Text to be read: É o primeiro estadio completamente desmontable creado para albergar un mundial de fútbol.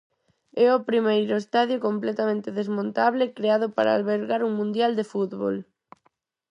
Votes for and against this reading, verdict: 4, 0, accepted